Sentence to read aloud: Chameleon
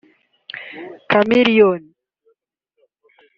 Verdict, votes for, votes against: rejected, 1, 2